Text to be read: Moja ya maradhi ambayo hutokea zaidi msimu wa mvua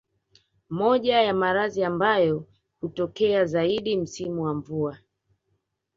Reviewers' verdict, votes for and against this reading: accepted, 2, 1